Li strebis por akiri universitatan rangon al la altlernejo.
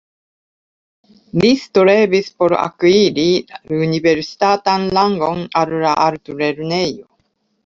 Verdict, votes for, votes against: rejected, 1, 2